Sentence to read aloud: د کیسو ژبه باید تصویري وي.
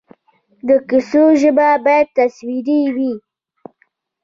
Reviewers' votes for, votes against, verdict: 1, 2, rejected